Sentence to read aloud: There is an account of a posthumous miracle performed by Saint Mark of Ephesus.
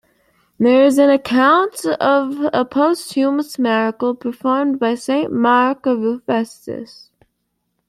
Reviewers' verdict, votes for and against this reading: accepted, 2, 1